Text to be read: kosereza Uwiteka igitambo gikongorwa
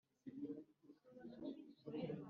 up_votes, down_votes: 1, 2